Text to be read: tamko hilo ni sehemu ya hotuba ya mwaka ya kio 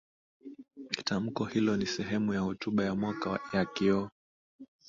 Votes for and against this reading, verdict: 2, 0, accepted